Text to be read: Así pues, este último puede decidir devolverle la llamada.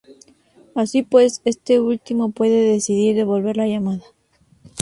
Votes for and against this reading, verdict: 4, 0, accepted